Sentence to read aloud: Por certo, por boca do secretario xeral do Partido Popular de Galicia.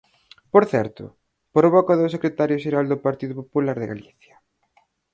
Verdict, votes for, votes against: accepted, 4, 0